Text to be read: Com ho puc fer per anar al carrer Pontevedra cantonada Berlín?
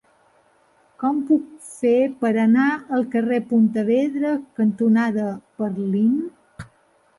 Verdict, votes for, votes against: rejected, 0, 2